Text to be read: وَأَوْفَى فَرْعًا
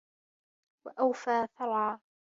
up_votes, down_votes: 2, 1